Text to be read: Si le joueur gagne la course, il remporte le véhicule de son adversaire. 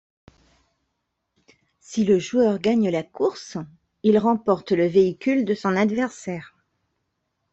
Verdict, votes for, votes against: accepted, 2, 0